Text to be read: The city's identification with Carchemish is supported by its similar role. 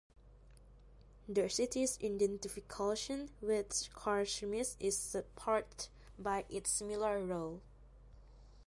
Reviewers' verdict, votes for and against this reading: accepted, 2, 0